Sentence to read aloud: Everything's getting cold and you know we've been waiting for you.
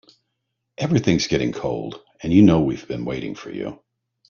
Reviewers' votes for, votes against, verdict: 3, 0, accepted